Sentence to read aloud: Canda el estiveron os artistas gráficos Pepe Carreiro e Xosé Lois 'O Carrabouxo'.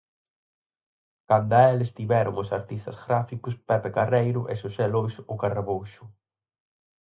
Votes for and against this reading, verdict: 4, 0, accepted